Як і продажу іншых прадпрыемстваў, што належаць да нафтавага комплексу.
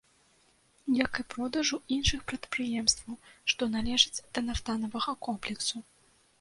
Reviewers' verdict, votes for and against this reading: rejected, 1, 2